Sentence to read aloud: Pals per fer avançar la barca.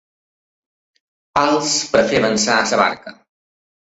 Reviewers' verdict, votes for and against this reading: rejected, 1, 2